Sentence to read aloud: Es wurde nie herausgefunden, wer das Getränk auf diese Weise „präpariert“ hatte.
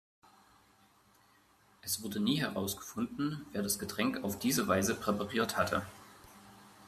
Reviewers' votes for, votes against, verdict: 2, 0, accepted